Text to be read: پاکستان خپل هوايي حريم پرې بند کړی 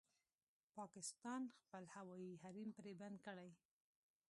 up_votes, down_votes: 2, 1